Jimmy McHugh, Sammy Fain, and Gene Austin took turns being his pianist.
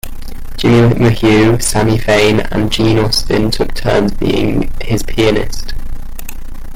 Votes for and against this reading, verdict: 1, 2, rejected